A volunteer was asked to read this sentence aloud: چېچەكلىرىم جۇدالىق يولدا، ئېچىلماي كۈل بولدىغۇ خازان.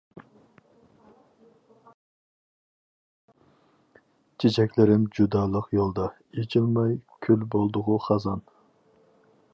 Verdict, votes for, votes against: accepted, 4, 0